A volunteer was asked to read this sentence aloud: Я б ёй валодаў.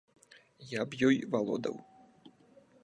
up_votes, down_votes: 2, 0